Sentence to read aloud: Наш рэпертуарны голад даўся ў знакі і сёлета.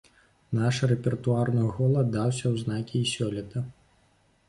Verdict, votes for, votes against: accepted, 2, 0